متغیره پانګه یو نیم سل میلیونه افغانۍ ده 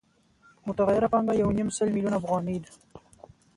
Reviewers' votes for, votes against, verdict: 2, 0, accepted